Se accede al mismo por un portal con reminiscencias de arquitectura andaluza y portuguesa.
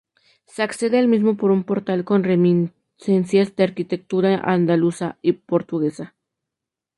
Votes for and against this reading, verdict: 2, 0, accepted